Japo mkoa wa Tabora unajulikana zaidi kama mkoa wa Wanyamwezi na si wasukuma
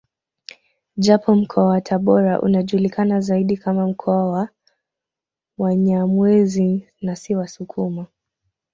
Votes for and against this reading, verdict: 2, 0, accepted